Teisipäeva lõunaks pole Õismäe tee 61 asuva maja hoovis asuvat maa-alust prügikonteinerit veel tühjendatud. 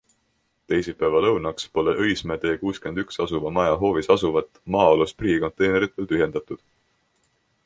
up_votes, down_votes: 0, 2